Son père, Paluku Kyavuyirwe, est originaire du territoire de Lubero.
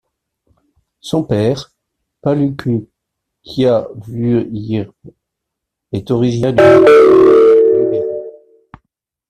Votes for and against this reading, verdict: 0, 2, rejected